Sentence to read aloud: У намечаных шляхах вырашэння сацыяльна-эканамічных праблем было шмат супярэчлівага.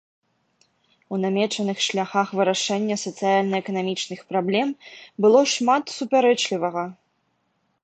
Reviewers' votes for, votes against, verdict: 2, 0, accepted